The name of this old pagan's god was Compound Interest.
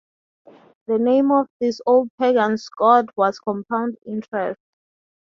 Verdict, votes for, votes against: accepted, 2, 0